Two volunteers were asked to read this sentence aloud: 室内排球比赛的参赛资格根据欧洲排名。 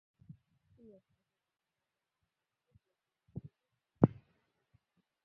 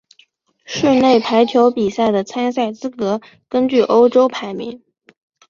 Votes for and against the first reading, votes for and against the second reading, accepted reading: 0, 2, 5, 0, second